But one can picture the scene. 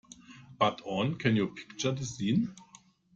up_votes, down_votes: 0, 2